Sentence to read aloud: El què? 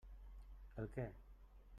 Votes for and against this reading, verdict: 1, 2, rejected